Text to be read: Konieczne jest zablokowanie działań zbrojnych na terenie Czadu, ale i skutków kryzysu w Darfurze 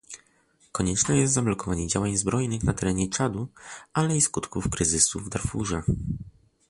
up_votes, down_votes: 2, 0